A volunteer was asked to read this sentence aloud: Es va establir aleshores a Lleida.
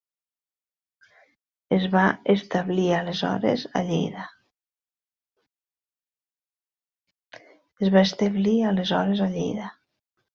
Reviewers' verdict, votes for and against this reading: rejected, 0, 2